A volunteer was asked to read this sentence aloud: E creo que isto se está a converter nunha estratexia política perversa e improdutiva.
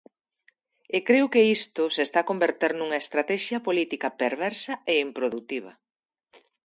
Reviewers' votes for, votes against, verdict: 2, 0, accepted